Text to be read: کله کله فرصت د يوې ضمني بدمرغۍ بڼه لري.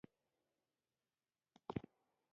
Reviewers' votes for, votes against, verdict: 1, 2, rejected